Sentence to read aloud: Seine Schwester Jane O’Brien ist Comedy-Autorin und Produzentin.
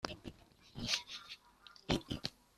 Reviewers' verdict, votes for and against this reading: rejected, 0, 2